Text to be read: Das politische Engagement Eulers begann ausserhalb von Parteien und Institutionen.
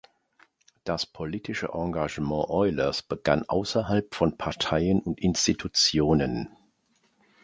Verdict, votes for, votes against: accepted, 2, 0